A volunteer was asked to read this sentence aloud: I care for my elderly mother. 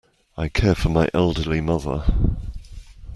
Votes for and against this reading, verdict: 2, 0, accepted